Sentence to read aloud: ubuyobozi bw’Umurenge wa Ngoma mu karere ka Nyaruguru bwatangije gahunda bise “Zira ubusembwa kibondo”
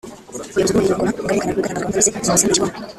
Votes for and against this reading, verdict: 0, 2, rejected